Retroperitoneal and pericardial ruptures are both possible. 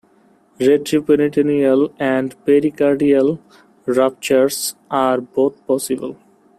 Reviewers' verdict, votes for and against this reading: accepted, 2, 0